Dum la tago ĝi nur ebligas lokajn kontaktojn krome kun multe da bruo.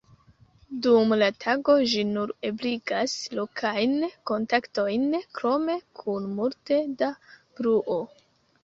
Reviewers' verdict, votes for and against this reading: accepted, 2, 1